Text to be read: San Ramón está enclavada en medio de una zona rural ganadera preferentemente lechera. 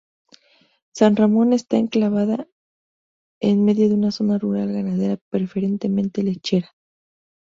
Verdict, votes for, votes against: rejected, 0, 2